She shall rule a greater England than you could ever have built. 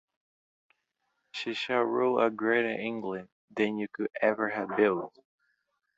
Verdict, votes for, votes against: accepted, 2, 0